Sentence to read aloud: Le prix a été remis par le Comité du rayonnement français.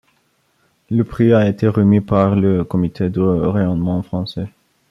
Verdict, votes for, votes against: rejected, 1, 2